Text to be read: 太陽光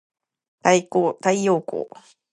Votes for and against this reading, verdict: 0, 3, rejected